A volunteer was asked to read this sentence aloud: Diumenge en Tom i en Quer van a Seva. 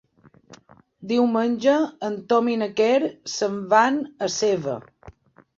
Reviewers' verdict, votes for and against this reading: rejected, 0, 3